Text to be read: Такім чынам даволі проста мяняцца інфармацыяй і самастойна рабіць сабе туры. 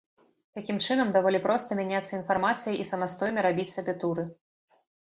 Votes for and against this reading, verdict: 3, 0, accepted